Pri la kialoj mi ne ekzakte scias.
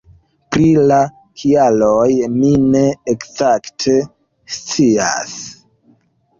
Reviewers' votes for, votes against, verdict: 2, 0, accepted